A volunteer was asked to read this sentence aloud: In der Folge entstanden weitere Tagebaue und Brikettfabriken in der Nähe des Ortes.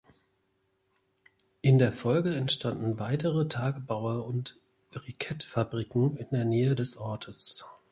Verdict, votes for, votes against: accepted, 2, 1